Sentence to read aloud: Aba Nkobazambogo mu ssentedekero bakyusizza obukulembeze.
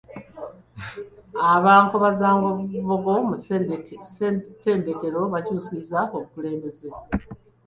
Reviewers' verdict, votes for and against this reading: rejected, 1, 2